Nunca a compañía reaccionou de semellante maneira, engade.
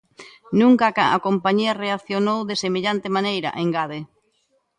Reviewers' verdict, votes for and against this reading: rejected, 1, 2